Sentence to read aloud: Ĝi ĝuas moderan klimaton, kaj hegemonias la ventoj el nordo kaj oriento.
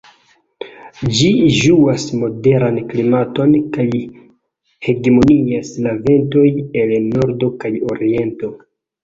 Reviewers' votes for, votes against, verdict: 0, 2, rejected